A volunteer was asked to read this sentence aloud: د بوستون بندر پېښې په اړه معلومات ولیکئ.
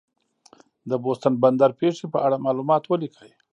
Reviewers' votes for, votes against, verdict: 2, 0, accepted